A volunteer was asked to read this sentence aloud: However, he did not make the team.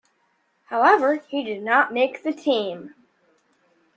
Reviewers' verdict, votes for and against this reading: accepted, 2, 0